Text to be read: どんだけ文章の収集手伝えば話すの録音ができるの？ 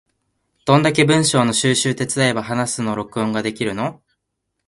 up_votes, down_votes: 2, 1